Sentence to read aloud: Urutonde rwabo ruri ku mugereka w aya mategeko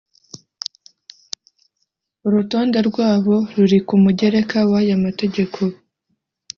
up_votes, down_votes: 3, 0